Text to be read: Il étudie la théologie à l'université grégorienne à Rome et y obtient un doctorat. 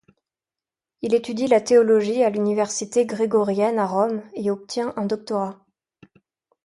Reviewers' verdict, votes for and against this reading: rejected, 0, 2